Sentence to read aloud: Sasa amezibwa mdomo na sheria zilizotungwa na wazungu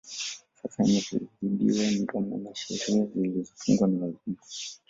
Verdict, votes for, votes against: rejected, 0, 2